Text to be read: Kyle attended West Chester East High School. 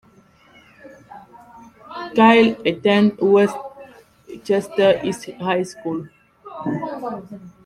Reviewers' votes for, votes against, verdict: 0, 2, rejected